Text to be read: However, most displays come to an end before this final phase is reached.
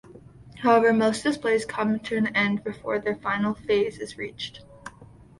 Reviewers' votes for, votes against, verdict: 2, 1, accepted